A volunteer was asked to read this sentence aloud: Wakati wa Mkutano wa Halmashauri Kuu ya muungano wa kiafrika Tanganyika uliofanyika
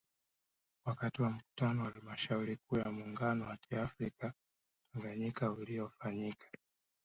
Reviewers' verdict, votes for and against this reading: accepted, 3, 0